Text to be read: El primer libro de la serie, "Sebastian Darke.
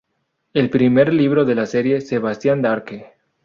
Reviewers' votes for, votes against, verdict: 2, 0, accepted